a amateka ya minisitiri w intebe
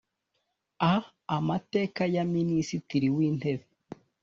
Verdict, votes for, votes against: accepted, 2, 0